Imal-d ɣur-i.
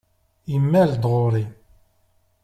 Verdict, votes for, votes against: accepted, 2, 0